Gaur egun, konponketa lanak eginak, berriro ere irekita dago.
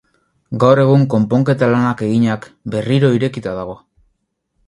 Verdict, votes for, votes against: rejected, 0, 4